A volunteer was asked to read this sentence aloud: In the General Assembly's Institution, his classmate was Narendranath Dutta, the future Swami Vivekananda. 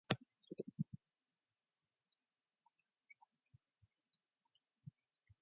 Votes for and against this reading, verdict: 0, 2, rejected